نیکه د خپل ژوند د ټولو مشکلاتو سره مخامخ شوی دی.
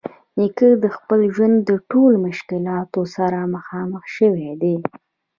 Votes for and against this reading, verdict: 1, 2, rejected